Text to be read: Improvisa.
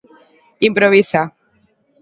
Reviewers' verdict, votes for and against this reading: accepted, 2, 0